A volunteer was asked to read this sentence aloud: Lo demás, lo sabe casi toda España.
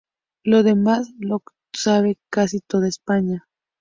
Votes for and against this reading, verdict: 2, 0, accepted